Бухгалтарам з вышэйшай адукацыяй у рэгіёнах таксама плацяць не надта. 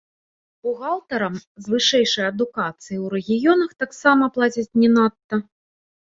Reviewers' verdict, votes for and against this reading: rejected, 0, 2